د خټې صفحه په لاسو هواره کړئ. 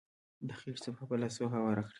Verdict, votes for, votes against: rejected, 0, 2